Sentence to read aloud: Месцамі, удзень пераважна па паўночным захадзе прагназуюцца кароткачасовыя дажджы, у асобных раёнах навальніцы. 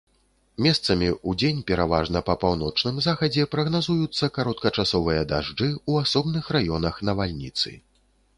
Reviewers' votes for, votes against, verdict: 2, 0, accepted